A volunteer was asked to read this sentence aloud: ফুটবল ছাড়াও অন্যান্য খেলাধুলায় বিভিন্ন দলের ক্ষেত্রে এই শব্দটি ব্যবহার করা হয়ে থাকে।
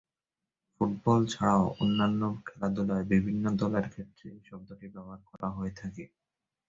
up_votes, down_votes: 9, 7